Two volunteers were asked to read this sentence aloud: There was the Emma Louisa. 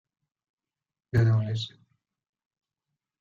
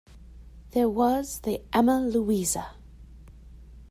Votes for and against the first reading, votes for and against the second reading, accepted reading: 0, 2, 2, 0, second